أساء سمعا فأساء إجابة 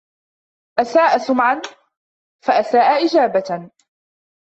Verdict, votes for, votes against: rejected, 0, 3